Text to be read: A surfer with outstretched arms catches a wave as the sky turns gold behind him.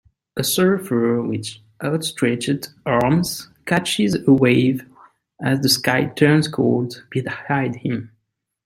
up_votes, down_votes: 2, 3